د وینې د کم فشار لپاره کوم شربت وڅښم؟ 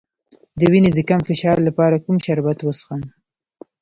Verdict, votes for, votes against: accepted, 2, 0